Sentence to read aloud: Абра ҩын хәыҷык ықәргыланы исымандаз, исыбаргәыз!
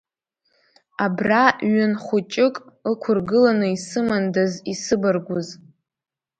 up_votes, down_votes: 1, 2